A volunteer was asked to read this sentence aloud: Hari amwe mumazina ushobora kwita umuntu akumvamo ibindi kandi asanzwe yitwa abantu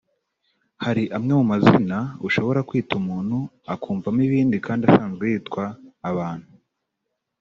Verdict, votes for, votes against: rejected, 0, 2